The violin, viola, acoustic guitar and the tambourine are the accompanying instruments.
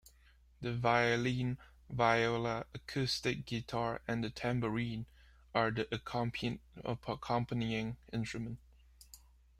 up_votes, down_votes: 1, 2